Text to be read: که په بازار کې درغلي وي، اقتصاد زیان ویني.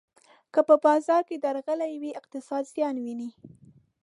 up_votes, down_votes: 1, 2